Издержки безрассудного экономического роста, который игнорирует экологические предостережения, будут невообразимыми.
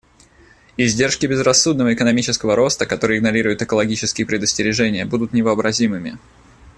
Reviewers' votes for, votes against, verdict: 2, 0, accepted